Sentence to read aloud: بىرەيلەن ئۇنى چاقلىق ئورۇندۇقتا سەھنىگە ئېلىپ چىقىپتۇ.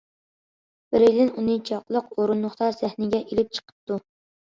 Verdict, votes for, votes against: accepted, 2, 0